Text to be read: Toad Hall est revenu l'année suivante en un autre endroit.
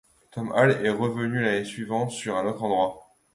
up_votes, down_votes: 0, 2